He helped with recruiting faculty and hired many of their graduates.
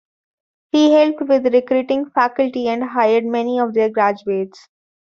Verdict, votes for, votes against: accepted, 2, 1